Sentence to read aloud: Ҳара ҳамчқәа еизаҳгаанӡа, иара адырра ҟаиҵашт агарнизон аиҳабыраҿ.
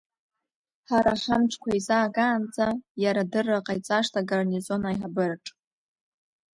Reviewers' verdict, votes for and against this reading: accepted, 2, 0